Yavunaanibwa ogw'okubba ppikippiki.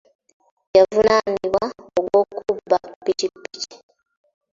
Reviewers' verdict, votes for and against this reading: accepted, 2, 0